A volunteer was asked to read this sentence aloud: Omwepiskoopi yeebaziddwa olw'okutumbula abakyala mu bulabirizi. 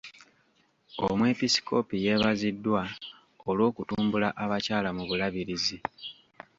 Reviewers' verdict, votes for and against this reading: rejected, 1, 2